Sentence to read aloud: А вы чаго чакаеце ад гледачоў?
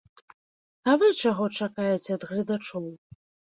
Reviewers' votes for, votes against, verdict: 2, 0, accepted